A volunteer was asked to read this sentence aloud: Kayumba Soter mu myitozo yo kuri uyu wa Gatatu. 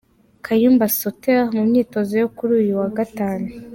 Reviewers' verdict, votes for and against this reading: rejected, 0, 2